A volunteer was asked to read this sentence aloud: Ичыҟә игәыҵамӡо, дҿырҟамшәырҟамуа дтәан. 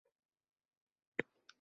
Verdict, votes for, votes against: rejected, 1, 2